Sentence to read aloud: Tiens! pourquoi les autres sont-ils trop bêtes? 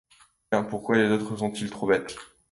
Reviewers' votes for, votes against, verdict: 2, 1, accepted